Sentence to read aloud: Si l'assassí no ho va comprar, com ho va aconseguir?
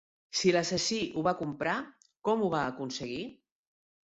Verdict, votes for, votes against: rejected, 0, 2